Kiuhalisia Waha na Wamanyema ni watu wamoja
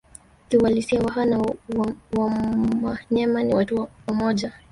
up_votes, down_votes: 1, 4